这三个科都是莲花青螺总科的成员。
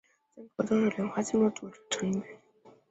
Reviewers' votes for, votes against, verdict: 0, 2, rejected